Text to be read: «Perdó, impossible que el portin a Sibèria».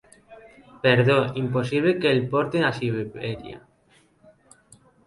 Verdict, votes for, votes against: rejected, 0, 2